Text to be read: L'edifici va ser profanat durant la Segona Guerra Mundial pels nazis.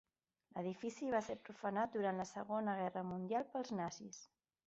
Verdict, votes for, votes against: accepted, 3, 1